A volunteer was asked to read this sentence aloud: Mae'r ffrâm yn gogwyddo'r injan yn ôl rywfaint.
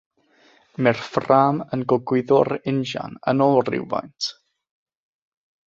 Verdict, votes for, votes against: accepted, 6, 0